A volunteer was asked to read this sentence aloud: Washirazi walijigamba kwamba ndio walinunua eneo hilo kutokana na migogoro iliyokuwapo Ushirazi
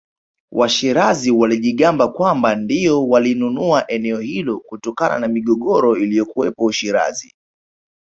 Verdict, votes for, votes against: accepted, 3, 2